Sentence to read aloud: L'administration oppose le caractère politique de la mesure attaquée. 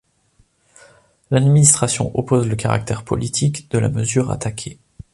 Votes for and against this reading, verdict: 2, 0, accepted